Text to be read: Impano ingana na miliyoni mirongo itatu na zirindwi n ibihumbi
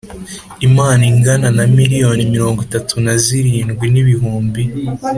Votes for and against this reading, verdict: 3, 0, accepted